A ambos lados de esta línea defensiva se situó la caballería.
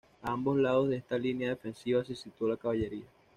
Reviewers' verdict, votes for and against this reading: accepted, 2, 0